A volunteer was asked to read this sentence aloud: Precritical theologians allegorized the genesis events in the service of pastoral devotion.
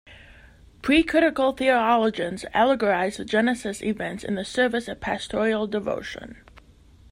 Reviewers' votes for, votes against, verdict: 0, 2, rejected